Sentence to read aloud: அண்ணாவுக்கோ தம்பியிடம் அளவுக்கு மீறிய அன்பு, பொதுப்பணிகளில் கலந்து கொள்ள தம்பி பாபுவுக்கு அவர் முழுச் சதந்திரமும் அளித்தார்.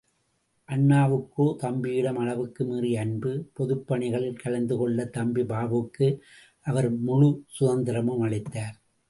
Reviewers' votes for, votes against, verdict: 2, 0, accepted